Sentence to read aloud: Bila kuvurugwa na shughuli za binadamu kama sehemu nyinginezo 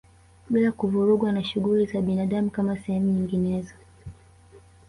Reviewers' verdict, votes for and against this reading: rejected, 0, 2